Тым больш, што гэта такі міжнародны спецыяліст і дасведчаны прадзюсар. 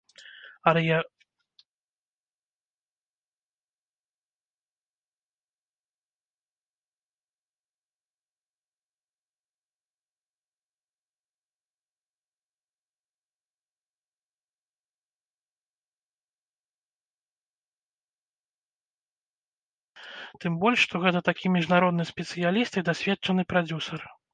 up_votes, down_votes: 1, 2